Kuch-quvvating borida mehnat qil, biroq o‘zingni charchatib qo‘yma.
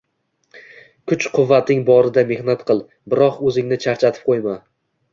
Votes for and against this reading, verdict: 2, 0, accepted